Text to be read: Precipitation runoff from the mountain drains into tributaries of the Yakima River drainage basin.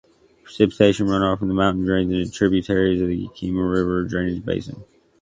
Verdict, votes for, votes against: rejected, 0, 2